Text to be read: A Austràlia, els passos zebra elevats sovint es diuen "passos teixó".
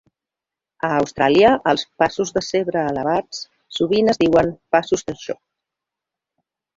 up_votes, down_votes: 1, 2